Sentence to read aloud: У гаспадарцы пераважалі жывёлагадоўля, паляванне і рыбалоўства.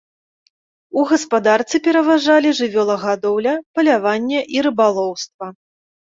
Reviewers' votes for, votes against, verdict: 2, 0, accepted